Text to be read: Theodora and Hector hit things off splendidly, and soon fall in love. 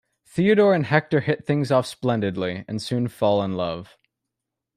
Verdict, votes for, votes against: accepted, 2, 0